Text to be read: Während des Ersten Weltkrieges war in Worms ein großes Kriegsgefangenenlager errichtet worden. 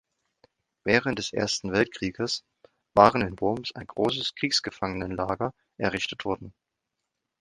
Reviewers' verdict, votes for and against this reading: rejected, 1, 2